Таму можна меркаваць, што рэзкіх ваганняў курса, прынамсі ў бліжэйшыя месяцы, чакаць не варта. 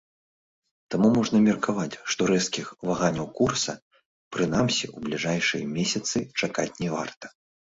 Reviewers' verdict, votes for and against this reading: rejected, 0, 2